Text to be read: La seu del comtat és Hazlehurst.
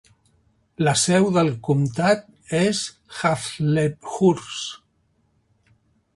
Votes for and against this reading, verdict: 1, 2, rejected